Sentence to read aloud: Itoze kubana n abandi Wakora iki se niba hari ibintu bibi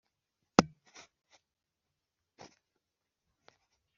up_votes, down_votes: 0, 3